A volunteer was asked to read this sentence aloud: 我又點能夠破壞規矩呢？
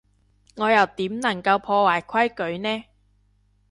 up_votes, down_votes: 2, 1